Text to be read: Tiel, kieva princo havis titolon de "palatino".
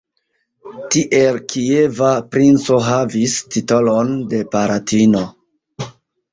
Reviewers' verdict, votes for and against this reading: accepted, 2, 0